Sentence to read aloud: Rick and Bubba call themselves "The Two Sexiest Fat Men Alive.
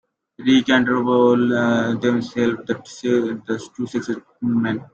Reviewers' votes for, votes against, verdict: 0, 2, rejected